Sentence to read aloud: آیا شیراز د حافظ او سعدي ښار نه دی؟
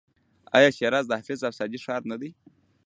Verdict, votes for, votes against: rejected, 0, 2